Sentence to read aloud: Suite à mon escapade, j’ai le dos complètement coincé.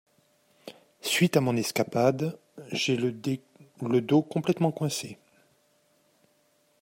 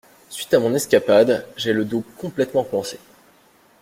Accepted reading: second